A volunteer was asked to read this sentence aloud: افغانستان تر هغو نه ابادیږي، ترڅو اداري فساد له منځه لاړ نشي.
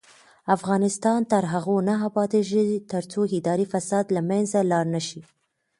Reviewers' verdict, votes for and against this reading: rejected, 1, 2